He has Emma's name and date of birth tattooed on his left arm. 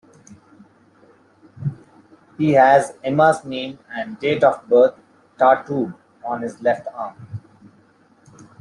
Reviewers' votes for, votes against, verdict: 2, 0, accepted